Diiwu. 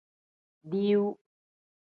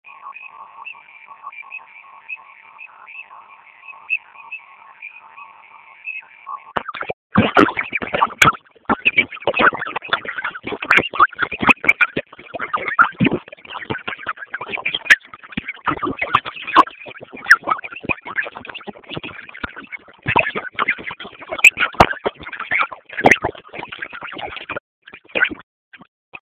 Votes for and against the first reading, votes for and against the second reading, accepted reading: 2, 0, 0, 2, first